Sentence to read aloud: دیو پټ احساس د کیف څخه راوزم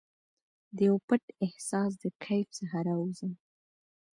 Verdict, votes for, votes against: accepted, 2, 0